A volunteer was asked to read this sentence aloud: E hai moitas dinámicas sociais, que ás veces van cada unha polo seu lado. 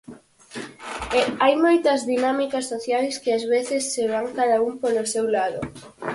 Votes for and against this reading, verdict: 0, 4, rejected